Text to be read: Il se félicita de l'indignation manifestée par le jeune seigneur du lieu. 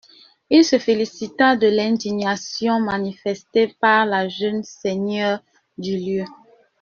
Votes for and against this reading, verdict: 0, 2, rejected